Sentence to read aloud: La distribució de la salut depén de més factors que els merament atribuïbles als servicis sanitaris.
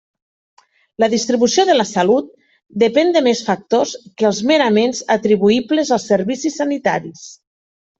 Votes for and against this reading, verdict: 1, 2, rejected